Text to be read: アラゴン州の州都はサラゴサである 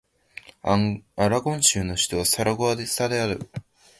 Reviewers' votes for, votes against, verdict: 0, 2, rejected